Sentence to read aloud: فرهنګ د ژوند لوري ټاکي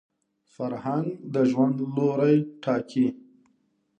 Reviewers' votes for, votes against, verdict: 2, 0, accepted